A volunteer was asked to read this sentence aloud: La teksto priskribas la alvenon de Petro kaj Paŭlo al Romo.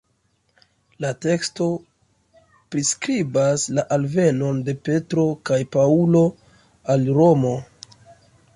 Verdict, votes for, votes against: accepted, 2, 0